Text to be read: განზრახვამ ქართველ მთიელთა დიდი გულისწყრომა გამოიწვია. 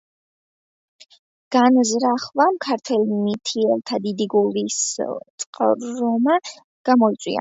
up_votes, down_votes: 2, 1